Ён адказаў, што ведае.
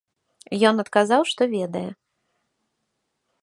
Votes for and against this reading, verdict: 2, 0, accepted